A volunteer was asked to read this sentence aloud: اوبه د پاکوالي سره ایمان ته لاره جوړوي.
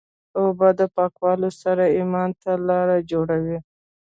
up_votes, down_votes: 2, 0